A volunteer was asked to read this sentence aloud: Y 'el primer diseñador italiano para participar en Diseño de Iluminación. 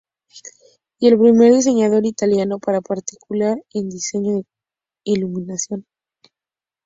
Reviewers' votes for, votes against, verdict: 0, 2, rejected